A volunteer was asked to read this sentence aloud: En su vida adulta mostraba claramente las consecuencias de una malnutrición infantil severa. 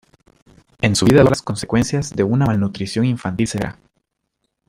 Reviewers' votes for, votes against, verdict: 0, 2, rejected